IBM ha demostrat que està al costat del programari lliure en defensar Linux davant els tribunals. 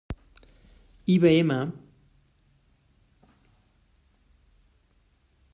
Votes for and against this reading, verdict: 0, 2, rejected